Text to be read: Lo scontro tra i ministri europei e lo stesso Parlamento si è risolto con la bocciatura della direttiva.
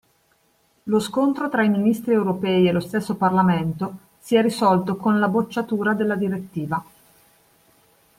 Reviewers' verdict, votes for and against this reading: accepted, 2, 0